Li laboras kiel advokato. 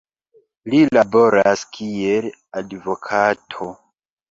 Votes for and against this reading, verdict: 2, 0, accepted